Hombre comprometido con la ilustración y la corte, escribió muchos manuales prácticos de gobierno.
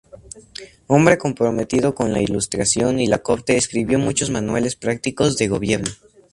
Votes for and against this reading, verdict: 2, 0, accepted